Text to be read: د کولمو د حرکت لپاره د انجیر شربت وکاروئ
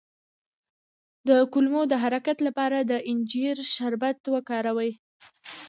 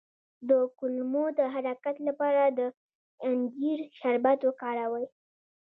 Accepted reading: first